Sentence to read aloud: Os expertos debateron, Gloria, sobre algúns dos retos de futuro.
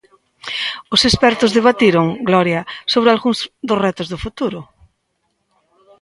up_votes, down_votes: 1, 2